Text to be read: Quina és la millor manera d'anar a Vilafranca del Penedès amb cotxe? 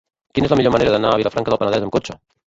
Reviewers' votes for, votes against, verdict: 0, 2, rejected